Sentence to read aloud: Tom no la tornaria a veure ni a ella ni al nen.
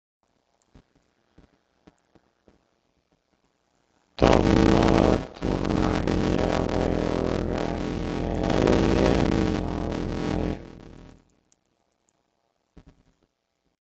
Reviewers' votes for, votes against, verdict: 0, 2, rejected